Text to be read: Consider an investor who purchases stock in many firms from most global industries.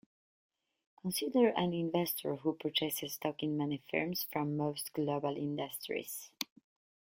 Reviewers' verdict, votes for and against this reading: accepted, 2, 1